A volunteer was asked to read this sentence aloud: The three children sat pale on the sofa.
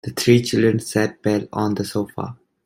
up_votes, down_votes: 2, 1